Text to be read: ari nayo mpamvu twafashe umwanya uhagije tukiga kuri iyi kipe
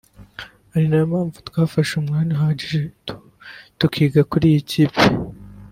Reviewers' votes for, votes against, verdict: 1, 2, rejected